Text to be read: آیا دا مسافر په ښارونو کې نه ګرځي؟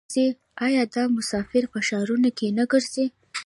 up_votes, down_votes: 2, 1